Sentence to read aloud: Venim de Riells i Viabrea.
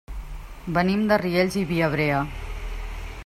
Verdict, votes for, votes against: accepted, 3, 0